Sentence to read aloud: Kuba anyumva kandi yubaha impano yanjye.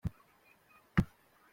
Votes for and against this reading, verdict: 0, 2, rejected